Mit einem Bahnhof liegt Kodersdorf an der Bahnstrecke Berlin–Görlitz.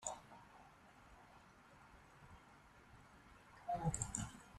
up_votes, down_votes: 0, 2